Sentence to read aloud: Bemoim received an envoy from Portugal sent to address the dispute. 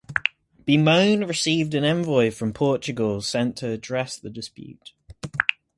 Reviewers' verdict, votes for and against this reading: accepted, 4, 0